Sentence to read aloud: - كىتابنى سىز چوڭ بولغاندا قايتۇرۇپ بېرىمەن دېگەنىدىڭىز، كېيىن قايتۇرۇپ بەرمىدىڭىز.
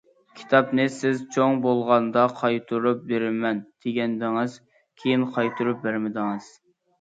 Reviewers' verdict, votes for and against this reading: accepted, 2, 0